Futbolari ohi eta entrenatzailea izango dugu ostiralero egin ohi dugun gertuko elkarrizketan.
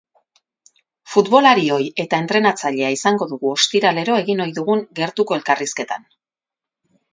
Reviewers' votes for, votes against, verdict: 4, 0, accepted